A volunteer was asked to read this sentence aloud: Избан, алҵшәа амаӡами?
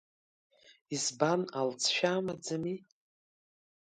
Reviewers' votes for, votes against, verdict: 2, 1, accepted